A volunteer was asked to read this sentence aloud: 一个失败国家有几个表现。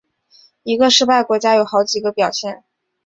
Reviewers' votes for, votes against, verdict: 1, 2, rejected